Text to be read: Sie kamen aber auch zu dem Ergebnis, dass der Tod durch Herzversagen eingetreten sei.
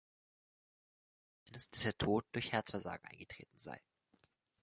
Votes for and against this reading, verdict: 0, 3, rejected